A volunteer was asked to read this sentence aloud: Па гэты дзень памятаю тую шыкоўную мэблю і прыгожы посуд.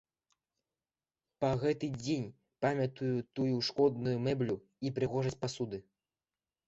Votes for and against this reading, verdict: 1, 2, rejected